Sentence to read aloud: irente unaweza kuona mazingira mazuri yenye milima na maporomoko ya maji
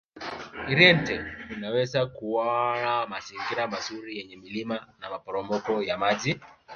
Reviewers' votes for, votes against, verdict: 1, 2, rejected